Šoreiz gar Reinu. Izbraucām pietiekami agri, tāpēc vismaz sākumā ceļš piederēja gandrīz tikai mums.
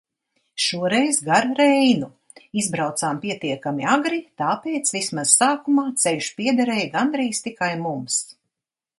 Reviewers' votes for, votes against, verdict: 2, 0, accepted